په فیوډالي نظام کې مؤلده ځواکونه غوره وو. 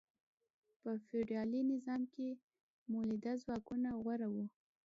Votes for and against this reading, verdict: 2, 0, accepted